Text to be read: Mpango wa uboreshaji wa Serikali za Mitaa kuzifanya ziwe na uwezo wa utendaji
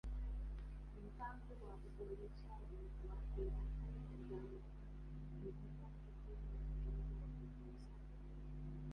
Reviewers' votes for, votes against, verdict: 0, 2, rejected